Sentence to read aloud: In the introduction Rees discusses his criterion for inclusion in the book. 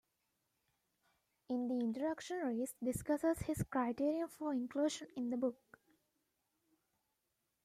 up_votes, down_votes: 0, 2